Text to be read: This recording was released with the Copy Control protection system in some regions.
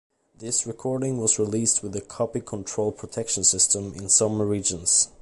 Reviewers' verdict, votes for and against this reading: rejected, 0, 2